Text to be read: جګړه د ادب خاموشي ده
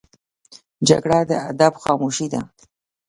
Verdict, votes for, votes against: rejected, 1, 2